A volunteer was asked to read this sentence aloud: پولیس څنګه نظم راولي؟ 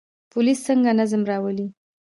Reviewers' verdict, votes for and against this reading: accepted, 2, 0